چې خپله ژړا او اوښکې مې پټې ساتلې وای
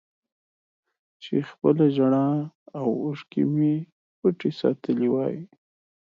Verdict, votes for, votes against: accepted, 2, 0